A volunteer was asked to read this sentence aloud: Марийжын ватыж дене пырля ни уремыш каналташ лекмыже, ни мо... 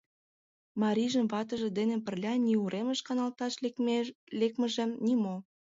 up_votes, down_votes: 1, 2